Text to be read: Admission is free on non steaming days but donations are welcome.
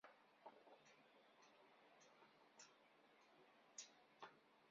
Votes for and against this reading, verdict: 0, 2, rejected